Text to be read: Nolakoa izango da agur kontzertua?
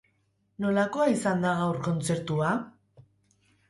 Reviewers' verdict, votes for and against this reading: rejected, 0, 2